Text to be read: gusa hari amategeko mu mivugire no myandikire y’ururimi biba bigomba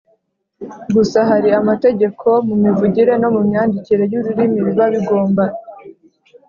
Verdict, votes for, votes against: accepted, 2, 0